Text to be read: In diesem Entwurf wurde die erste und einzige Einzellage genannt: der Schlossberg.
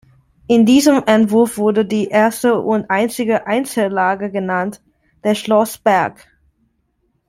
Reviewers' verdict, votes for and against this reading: accepted, 2, 0